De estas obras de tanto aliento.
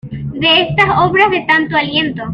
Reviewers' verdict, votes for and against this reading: accepted, 2, 0